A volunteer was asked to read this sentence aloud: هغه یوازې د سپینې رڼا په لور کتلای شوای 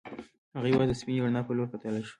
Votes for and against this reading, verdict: 0, 2, rejected